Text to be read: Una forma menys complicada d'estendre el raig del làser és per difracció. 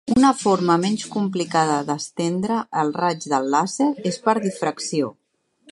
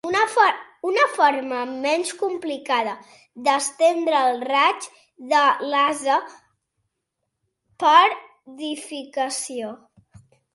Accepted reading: first